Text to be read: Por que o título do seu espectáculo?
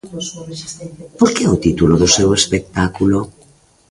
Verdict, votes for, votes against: accepted, 2, 1